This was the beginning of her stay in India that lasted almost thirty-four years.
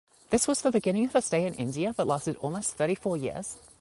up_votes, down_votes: 2, 0